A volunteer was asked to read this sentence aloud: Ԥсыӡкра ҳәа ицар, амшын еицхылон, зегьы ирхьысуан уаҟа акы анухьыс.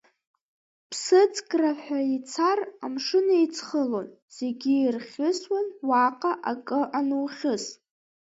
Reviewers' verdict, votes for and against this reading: rejected, 0, 2